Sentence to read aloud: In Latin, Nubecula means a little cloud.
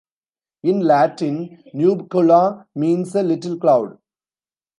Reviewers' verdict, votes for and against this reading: rejected, 1, 2